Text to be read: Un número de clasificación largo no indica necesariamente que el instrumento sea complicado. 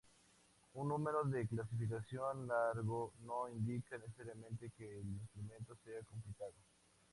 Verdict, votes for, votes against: accepted, 4, 0